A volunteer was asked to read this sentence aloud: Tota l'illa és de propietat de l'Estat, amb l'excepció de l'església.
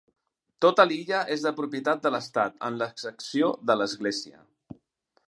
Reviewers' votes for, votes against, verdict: 2, 0, accepted